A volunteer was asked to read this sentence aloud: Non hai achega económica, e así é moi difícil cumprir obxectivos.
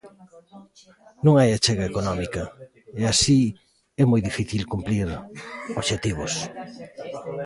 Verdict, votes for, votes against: rejected, 0, 2